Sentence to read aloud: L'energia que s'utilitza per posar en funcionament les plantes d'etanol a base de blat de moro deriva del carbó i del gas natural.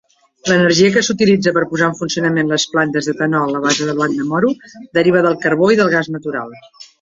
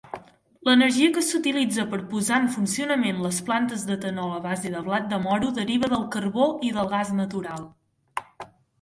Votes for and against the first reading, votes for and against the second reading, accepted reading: 1, 2, 2, 0, second